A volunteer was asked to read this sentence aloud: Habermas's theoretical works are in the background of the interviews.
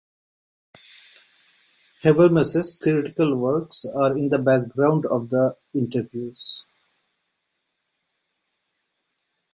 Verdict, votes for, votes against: accepted, 2, 0